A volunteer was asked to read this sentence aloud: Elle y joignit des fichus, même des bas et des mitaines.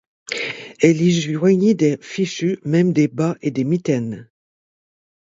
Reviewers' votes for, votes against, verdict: 4, 0, accepted